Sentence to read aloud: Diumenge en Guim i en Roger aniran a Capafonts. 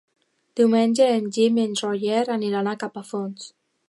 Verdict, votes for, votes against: rejected, 0, 2